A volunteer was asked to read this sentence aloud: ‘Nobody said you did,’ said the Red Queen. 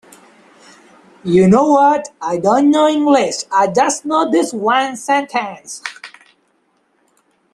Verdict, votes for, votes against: rejected, 0, 2